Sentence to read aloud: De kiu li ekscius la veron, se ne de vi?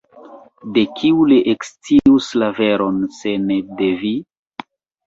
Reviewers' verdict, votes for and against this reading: rejected, 1, 2